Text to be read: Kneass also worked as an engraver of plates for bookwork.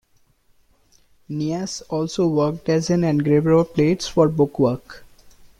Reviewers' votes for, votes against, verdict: 2, 0, accepted